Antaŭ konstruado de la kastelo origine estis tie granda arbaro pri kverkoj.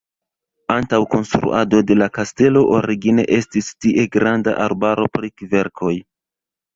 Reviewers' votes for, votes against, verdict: 0, 2, rejected